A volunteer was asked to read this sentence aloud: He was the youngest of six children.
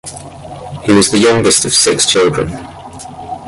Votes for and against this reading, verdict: 2, 0, accepted